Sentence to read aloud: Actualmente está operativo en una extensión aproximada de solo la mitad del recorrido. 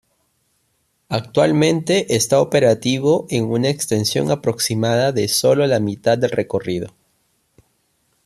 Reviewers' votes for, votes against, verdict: 2, 0, accepted